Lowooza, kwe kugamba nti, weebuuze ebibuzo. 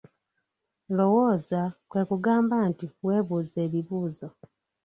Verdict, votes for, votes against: rejected, 1, 2